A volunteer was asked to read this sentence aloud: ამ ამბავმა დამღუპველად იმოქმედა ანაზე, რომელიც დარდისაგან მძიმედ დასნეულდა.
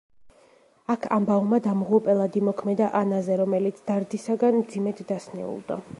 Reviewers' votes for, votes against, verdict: 1, 2, rejected